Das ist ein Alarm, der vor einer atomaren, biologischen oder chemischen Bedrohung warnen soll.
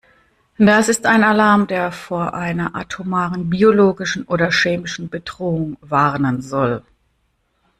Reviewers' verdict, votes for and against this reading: accepted, 2, 0